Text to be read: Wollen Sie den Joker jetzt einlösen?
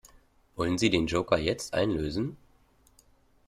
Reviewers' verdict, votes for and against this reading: accepted, 2, 0